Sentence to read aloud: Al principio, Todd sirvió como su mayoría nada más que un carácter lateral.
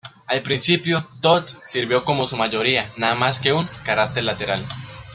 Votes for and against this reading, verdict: 2, 0, accepted